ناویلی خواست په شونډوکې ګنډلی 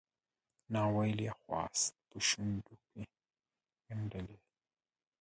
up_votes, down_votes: 2, 6